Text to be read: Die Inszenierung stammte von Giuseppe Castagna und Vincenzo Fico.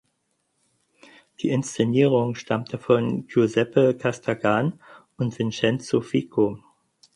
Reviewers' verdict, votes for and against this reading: rejected, 0, 4